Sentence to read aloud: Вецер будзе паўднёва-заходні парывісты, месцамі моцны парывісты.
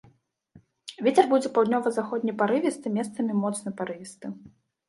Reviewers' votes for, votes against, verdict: 2, 0, accepted